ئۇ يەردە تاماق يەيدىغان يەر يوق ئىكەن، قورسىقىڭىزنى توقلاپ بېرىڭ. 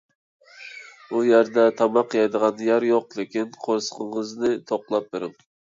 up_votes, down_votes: 0, 2